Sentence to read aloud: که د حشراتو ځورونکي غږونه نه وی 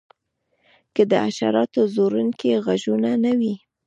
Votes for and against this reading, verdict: 1, 2, rejected